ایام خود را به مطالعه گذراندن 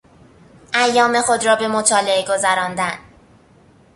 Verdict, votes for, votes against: accepted, 2, 0